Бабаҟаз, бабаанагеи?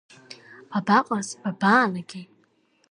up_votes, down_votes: 2, 0